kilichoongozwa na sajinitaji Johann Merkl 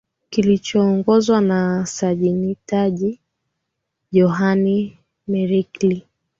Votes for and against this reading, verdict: 4, 6, rejected